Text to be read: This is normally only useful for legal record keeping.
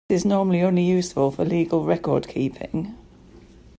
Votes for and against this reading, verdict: 1, 2, rejected